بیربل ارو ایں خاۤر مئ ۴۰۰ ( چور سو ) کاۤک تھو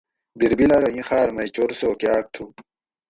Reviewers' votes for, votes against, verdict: 0, 2, rejected